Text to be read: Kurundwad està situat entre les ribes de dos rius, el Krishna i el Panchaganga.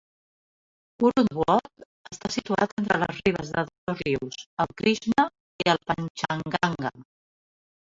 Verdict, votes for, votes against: rejected, 0, 2